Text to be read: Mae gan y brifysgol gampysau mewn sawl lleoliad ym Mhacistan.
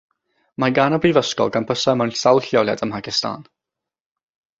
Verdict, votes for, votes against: accepted, 3, 0